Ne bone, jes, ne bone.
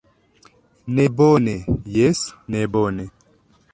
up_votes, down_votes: 2, 0